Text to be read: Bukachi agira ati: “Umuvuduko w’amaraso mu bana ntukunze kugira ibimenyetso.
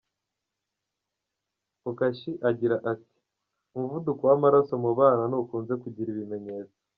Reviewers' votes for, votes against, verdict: 2, 1, accepted